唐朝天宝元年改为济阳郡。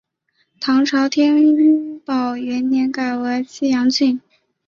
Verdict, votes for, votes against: rejected, 0, 2